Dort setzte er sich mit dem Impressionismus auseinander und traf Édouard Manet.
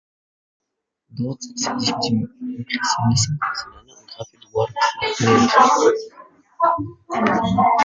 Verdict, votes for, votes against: rejected, 0, 2